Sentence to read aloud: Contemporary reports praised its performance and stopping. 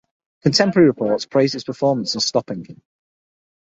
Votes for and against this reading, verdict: 6, 0, accepted